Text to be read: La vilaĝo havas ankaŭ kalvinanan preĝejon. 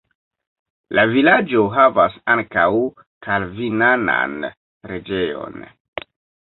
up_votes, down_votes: 1, 2